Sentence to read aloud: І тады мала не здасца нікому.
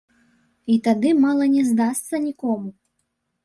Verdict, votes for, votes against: accepted, 2, 0